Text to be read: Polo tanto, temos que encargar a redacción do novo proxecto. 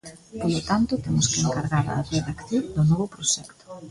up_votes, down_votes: 0, 2